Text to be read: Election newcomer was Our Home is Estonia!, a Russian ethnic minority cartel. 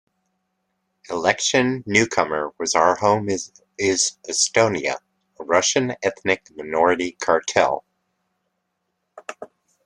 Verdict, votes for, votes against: rejected, 0, 2